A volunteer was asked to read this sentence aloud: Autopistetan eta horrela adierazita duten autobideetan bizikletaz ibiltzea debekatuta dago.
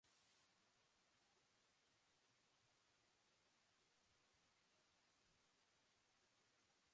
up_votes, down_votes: 0, 2